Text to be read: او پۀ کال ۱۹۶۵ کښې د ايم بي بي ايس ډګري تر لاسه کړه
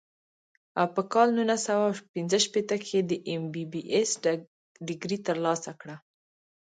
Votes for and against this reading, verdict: 0, 2, rejected